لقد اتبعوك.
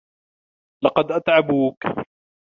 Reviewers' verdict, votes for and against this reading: rejected, 1, 2